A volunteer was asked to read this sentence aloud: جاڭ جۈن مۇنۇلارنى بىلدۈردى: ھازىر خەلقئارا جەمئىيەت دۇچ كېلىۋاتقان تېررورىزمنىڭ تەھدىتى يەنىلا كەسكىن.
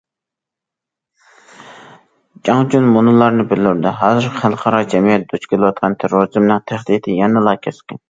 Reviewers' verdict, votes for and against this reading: rejected, 1, 2